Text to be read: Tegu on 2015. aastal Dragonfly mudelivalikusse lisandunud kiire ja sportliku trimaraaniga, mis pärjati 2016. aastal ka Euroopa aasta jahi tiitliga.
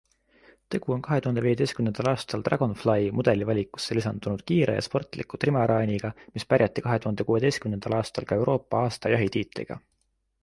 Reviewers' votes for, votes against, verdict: 0, 2, rejected